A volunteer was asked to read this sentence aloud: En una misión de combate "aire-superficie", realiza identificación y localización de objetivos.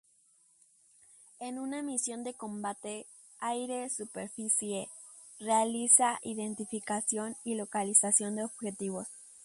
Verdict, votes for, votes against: rejected, 0, 2